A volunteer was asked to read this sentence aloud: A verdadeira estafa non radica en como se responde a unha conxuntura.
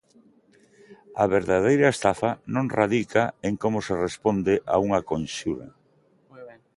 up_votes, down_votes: 0, 2